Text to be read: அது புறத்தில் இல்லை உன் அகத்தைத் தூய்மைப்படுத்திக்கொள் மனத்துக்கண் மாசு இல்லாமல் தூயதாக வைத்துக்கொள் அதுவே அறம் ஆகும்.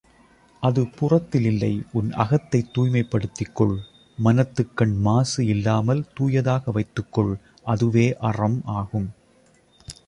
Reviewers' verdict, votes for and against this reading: accepted, 2, 0